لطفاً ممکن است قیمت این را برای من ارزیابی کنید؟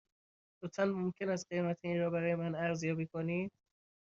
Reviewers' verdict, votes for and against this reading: accepted, 2, 0